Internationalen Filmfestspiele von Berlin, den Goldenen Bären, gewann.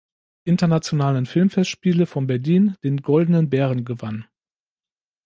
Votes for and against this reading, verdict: 2, 0, accepted